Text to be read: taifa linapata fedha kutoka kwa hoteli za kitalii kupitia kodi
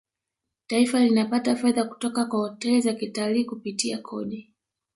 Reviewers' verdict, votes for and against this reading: rejected, 1, 2